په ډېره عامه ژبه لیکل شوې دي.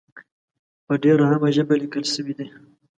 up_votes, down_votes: 2, 0